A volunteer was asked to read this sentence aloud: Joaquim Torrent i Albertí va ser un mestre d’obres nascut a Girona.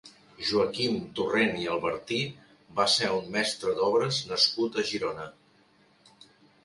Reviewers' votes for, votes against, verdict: 0, 3, rejected